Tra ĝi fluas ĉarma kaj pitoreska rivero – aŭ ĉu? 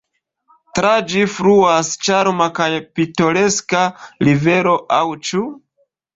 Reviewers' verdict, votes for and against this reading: accepted, 2, 0